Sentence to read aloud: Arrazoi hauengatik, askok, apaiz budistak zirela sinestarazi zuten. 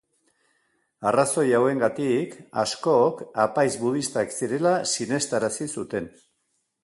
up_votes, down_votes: 2, 0